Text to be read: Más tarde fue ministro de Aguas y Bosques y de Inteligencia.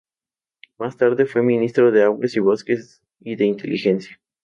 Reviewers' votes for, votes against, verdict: 2, 0, accepted